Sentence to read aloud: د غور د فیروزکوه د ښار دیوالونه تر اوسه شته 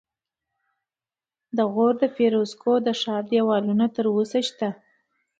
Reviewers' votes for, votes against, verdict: 2, 0, accepted